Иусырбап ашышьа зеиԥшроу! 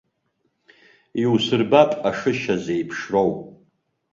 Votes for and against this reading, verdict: 2, 0, accepted